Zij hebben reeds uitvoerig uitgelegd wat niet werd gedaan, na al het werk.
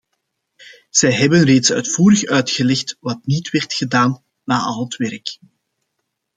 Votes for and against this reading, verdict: 2, 0, accepted